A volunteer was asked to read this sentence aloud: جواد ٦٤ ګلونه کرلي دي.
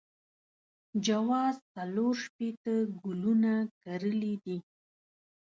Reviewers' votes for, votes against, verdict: 0, 2, rejected